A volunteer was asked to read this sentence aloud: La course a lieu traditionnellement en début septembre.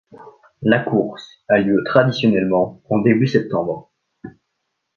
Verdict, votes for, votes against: accepted, 2, 0